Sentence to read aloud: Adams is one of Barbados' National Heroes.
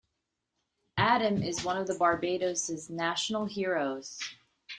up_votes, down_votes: 2, 1